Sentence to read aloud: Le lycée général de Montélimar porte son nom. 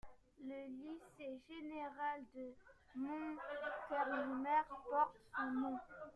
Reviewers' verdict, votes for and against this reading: rejected, 0, 2